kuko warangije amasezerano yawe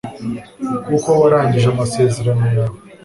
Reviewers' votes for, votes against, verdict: 2, 0, accepted